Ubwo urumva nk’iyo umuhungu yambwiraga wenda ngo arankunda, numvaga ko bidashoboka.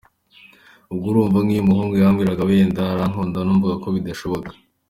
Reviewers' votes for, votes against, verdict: 2, 0, accepted